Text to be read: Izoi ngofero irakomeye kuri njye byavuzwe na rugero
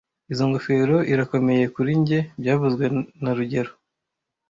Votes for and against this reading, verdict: 1, 2, rejected